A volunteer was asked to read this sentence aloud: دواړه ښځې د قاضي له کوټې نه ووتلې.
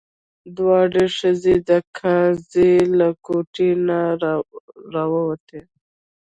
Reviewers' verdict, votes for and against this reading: rejected, 1, 2